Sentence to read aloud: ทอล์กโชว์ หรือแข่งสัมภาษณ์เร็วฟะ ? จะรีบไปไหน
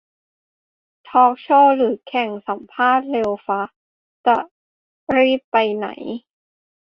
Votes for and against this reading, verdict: 1, 2, rejected